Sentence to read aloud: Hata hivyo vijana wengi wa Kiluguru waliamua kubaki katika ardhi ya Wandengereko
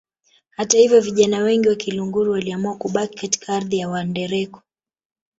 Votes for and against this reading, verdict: 0, 2, rejected